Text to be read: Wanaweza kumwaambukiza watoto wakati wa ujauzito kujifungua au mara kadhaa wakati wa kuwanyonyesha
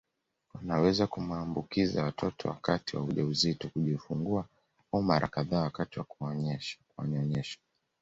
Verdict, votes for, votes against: rejected, 1, 2